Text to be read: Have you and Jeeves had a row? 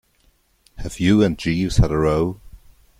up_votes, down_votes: 2, 0